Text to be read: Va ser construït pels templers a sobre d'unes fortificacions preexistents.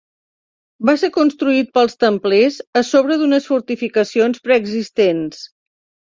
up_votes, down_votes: 3, 0